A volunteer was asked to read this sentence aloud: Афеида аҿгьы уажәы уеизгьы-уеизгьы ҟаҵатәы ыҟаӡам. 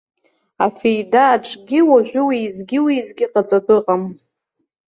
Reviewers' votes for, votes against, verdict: 0, 2, rejected